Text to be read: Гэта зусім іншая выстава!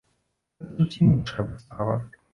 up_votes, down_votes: 1, 2